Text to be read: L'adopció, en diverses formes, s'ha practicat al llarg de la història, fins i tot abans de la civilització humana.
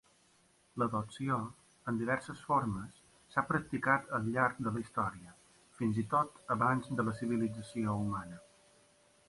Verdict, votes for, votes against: accepted, 3, 0